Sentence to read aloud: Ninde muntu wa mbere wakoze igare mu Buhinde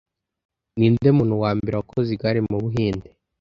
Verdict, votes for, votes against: accepted, 2, 0